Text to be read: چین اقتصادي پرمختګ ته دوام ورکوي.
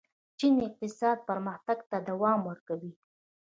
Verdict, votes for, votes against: accepted, 2, 0